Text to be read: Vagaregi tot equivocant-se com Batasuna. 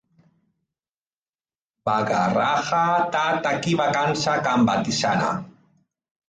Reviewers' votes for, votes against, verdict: 0, 3, rejected